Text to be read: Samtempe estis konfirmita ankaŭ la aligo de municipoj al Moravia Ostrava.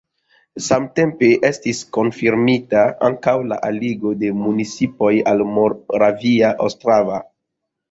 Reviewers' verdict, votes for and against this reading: rejected, 0, 2